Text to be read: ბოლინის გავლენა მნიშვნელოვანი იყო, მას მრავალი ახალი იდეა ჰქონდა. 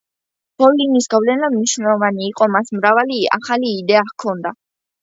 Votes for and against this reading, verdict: 2, 0, accepted